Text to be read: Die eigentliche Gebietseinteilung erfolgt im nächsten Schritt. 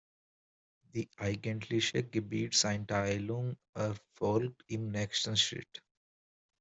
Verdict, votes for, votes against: rejected, 0, 2